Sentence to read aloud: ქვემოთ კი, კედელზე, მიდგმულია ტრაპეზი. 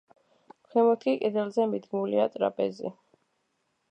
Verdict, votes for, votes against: accepted, 2, 0